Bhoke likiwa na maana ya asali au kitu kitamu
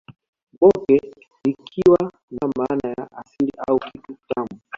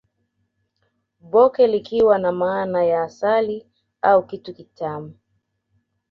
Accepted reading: second